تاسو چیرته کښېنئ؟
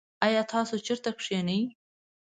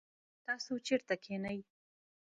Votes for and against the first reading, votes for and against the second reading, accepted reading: 0, 2, 3, 0, second